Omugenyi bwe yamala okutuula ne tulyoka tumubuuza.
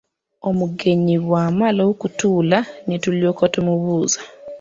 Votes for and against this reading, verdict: 0, 2, rejected